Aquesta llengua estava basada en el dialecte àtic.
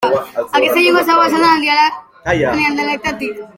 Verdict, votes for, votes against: rejected, 0, 3